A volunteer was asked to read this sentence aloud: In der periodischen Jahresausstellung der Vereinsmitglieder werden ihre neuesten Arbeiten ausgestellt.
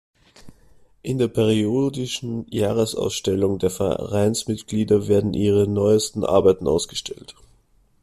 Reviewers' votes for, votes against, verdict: 1, 2, rejected